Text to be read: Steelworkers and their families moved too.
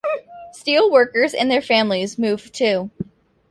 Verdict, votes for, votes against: rejected, 1, 2